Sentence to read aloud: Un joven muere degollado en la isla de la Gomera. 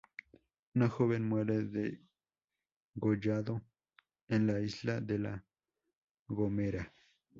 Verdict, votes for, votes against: rejected, 0, 2